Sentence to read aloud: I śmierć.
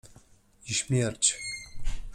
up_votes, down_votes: 2, 0